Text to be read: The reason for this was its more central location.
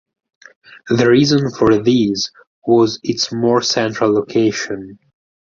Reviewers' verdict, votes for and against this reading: rejected, 0, 4